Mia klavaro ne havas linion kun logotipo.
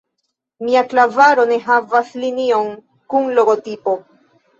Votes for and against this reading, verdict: 2, 0, accepted